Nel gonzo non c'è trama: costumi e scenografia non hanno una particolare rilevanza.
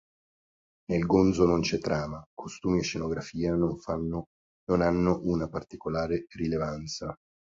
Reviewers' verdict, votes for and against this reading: rejected, 1, 2